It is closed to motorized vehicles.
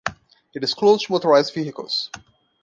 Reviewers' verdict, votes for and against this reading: rejected, 0, 2